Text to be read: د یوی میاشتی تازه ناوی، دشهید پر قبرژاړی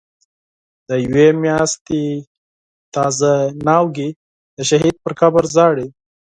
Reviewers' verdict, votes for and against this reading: rejected, 2, 4